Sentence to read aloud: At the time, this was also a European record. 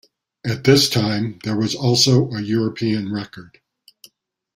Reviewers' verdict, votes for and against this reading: rejected, 0, 2